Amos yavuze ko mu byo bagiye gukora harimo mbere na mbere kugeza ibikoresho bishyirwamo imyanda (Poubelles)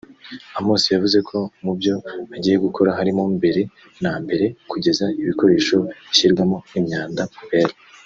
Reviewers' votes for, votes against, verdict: 0, 2, rejected